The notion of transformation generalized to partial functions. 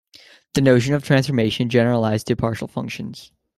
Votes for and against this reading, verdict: 2, 0, accepted